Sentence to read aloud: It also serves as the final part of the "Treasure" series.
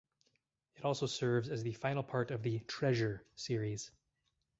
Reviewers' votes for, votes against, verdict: 4, 0, accepted